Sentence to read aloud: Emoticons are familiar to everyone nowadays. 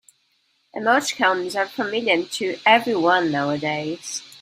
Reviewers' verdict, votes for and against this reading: accepted, 2, 0